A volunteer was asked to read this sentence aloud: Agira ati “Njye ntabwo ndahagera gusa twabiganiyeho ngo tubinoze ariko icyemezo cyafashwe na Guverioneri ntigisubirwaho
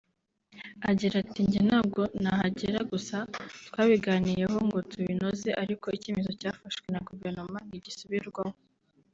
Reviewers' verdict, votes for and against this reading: rejected, 1, 2